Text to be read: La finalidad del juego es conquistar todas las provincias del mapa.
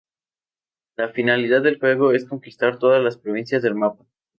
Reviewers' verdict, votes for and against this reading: accepted, 4, 0